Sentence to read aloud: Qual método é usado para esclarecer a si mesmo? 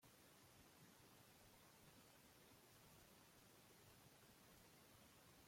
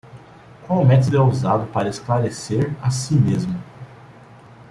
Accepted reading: second